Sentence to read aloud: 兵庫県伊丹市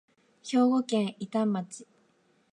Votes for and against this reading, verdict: 1, 2, rejected